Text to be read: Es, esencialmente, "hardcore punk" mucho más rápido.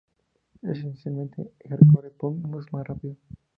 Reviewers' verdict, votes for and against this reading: accepted, 2, 0